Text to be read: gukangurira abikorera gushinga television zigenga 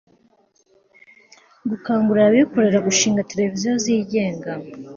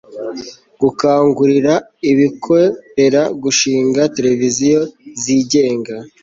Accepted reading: first